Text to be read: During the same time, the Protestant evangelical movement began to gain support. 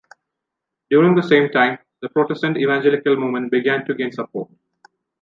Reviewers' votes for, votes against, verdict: 0, 2, rejected